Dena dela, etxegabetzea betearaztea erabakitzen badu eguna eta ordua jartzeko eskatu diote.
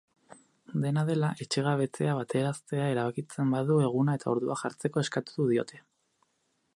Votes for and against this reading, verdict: 0, 2, rejected